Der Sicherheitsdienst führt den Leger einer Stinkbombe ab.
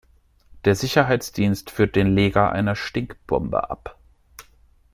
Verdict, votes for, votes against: accepted, 2, 0